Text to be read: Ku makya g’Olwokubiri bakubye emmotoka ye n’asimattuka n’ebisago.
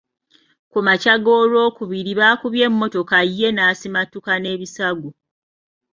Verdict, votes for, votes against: accepted, 2, 0